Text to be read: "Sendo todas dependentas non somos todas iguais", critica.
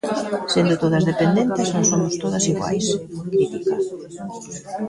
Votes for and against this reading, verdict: 2, 1, accepted